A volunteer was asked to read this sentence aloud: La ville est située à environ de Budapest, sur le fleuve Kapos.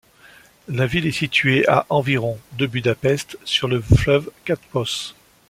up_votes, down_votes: 2, 0